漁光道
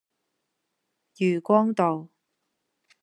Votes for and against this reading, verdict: 0, 2, rejected